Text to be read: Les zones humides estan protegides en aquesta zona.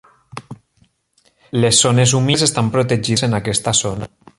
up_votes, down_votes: 3, 0